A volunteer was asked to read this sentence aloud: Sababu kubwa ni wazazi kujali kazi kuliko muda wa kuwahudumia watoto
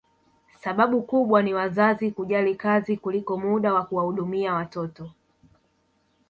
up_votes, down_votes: 0, 2